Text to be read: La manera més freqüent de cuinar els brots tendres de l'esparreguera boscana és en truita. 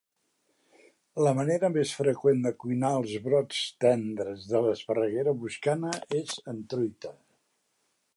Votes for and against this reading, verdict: 4, 0, accepted